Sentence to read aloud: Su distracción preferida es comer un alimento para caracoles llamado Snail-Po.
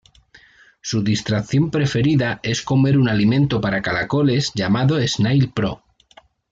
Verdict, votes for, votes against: rejected, 0, 2